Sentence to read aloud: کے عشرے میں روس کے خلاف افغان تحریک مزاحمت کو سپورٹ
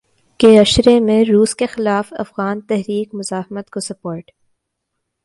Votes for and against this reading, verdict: 2, 0, accepted